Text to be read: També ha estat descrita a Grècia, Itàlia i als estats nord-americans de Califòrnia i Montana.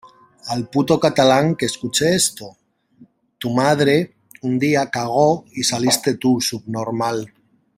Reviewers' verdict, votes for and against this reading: rejected, 0, 2